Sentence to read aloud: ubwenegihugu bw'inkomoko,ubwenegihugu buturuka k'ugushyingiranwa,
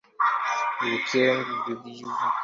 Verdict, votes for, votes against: rejected, 0, 2